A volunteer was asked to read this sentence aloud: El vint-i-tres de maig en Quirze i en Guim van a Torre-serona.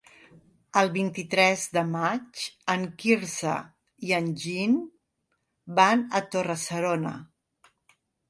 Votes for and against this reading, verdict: 1, 3, rejected